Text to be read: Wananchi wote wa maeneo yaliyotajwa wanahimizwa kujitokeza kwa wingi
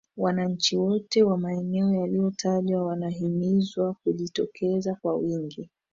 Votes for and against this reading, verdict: 0, 2, rejected